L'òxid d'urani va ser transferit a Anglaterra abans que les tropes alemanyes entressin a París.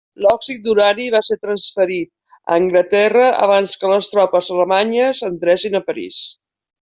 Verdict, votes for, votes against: accepted, 2, 0